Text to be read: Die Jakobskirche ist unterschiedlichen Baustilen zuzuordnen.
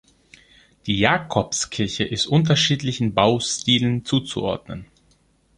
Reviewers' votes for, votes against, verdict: 2, 0, accepted